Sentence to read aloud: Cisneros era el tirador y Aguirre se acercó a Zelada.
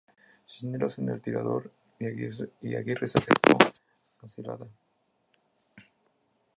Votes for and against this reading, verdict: 0, 2, rejected